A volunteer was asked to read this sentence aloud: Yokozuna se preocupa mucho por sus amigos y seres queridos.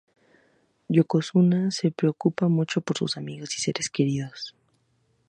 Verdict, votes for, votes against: accepted, 4, 0